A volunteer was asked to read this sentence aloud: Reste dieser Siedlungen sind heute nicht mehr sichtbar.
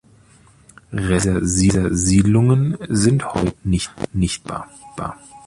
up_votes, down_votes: 0, 2